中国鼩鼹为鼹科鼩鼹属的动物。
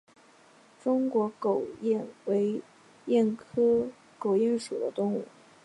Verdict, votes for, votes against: rejected, 0, 2